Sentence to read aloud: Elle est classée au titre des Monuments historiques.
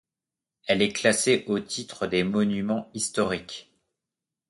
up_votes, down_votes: 0, 2